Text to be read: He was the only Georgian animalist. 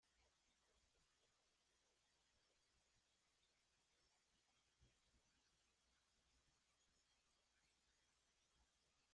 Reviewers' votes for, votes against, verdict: 0, 2, rejected